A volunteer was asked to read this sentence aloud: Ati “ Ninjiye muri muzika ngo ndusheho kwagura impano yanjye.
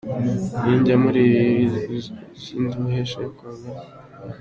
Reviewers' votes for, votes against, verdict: 0, 2, rejected